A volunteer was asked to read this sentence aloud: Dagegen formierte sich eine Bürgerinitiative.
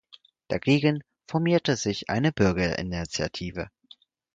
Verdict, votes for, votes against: rejected, 2, 4